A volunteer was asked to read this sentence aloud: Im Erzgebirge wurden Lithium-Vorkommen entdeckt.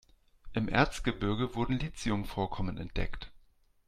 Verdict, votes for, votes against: accepted, 2, 0